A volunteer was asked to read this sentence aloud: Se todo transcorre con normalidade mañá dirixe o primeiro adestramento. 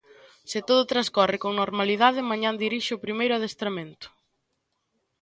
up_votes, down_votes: 2, 1